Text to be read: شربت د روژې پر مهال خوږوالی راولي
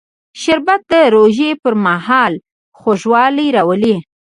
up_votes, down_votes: 1, 2